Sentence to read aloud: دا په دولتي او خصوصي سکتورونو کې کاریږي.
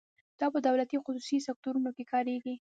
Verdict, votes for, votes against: accepted, 2, 0